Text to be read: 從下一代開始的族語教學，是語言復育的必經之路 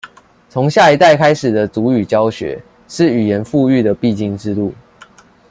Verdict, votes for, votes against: accepted, 2, 0